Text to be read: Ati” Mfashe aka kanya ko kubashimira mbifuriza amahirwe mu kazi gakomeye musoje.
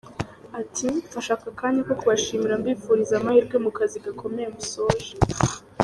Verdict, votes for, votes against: accepted, 2, 0